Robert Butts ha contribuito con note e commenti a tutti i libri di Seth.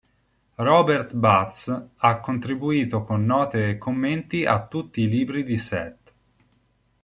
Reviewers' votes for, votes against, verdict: 2, 0, accepted